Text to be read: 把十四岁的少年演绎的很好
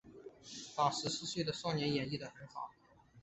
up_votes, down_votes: 3, 0